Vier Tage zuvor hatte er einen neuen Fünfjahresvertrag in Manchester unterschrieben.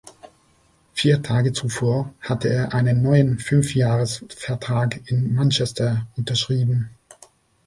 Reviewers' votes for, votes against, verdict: 2, 1, accepted